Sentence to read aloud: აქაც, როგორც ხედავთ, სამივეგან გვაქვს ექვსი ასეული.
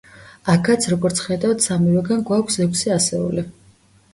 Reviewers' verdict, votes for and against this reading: accepted, 2, 0